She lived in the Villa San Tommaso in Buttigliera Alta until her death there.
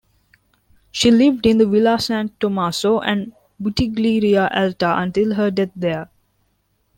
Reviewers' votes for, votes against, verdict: 0, 2, rejected